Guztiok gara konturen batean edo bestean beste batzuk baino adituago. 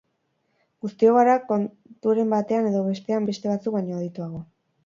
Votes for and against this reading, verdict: 6, 0, accepted